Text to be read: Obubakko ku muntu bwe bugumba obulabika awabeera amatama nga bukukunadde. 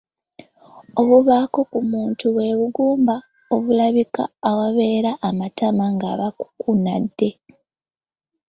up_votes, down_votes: 2, 1